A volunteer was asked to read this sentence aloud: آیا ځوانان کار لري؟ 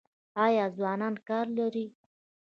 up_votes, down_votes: 2, 0